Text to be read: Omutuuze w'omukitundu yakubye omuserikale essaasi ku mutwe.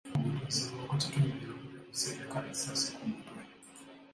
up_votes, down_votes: 1, 2